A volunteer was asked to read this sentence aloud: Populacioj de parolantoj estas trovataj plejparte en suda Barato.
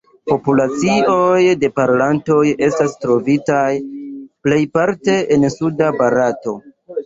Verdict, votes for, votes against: rejected, 1, 2